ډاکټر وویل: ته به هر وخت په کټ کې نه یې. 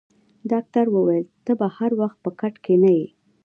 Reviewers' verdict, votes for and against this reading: accepted, 2, 0